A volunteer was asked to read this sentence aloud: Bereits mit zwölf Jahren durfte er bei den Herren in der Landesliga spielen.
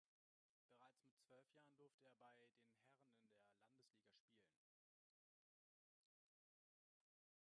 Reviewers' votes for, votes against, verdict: 0, 2, rejected